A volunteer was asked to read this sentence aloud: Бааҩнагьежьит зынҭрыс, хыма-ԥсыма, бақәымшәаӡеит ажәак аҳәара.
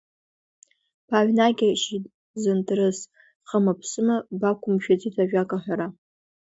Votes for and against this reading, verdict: 2, 1, accepted